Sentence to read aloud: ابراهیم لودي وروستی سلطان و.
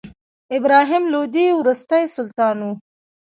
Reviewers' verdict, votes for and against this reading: rejected, 1, 2